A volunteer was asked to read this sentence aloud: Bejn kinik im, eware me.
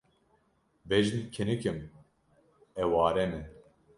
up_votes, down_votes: 2, 0